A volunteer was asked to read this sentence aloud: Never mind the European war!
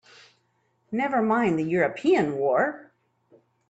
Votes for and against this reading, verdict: 2, 0, accepted